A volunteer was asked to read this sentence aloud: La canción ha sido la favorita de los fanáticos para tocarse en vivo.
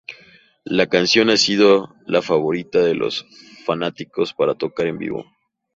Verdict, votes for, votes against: rejected, 0, 2